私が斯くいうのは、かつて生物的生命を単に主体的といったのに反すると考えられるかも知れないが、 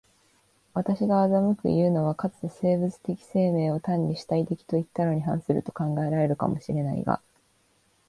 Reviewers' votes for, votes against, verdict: 2, 1, accepted